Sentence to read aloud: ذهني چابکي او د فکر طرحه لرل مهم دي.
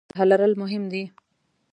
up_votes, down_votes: 1, 2